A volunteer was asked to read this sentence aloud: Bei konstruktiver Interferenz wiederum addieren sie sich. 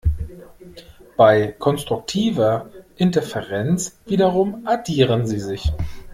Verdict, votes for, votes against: accepted, 2, 0